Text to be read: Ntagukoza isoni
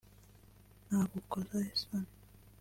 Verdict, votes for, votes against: rejected, 0, 2